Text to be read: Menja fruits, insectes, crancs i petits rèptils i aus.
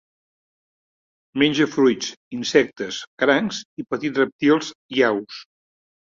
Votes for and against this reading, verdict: 0, 2, rejected